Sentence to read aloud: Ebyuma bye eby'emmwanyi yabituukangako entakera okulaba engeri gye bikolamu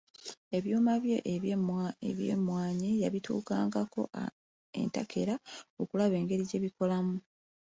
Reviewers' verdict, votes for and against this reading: rejected, 1, 2